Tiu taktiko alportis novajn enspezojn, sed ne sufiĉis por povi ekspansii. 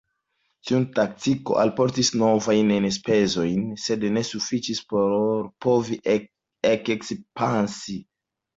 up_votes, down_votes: 1, 2